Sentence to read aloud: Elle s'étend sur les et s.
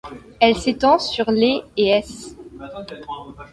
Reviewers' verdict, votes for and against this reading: accepted, 2, 0